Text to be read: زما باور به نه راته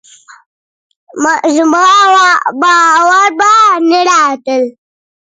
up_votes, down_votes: 1, 3